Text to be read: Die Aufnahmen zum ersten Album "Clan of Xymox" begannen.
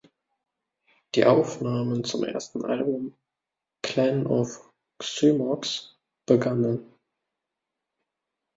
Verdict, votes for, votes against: accepted, 2, 0